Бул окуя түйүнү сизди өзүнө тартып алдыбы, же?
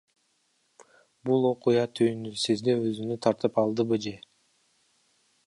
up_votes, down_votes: 1, 2